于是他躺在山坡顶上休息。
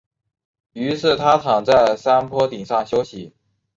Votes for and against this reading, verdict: 3, 0, accepted